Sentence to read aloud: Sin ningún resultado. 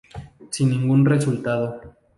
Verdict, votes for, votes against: accepted, 2, 0